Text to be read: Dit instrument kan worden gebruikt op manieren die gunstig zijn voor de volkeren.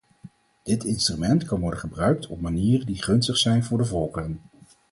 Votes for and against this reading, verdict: 2, 2, rejected